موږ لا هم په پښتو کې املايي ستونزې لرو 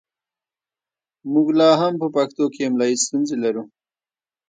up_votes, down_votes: 0, 2